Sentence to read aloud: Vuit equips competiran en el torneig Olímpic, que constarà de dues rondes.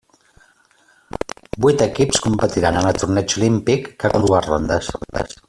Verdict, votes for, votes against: rejected, 0, 2